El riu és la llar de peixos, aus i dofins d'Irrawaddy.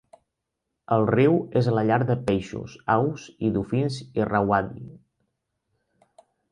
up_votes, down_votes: 1, 2